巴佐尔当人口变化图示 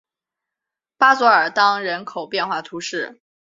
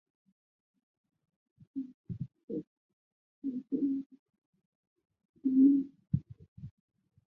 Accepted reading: first